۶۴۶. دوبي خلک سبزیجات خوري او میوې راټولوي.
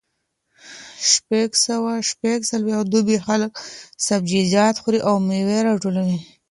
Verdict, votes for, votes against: rejected, 0, 2